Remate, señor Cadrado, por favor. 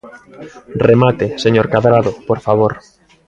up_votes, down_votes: 1, 2